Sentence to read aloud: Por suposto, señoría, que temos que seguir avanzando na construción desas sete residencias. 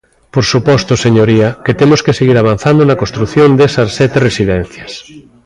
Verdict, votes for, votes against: rejected, 1, 2